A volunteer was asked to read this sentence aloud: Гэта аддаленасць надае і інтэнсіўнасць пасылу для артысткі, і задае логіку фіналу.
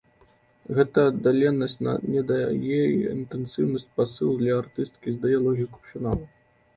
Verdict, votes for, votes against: rejected, 0, 2